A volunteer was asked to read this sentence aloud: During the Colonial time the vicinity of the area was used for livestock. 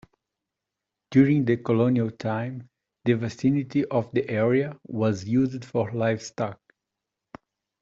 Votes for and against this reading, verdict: 1, 2, rejected